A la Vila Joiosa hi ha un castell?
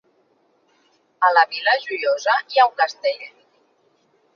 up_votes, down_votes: 3, 0